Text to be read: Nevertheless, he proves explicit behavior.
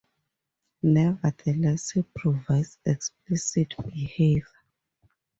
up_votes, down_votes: 0, 2